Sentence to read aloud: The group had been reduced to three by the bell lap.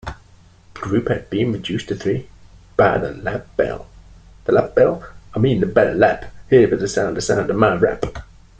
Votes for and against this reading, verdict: 1, 2, rejected